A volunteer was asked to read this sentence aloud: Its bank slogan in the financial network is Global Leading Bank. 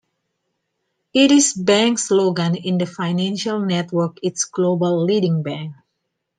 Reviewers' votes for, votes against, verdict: 1, 2, rejected